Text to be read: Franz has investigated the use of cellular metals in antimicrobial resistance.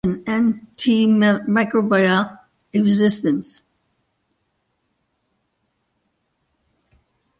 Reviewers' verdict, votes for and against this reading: rejected, 0, 2